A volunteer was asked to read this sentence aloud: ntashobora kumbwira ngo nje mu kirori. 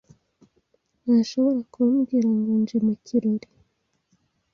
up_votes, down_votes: 2, 0